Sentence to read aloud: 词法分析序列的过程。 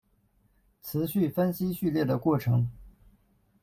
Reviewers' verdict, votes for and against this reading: rejected, 1, 2